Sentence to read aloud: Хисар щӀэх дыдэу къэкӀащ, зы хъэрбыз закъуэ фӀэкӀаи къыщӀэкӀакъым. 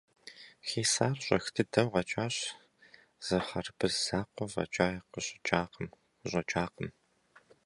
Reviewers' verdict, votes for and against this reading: rejected, 0, 2